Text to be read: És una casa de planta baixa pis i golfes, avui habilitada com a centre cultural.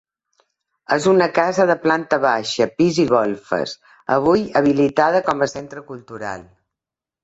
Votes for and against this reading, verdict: 2, 0, accepted